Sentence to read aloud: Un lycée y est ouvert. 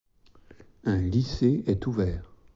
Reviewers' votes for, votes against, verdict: 0, 2, rejected